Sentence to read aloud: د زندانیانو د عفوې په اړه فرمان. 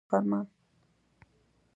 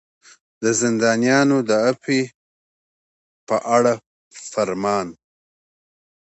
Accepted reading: second